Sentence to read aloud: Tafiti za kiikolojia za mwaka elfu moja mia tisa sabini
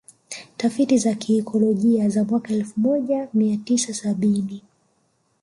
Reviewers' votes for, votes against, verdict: 2, 1, accepted